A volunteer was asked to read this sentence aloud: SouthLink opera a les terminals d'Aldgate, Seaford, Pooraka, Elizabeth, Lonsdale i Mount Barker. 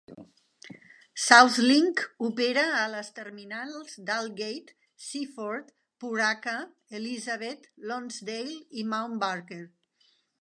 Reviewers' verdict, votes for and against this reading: accepted, 2, 0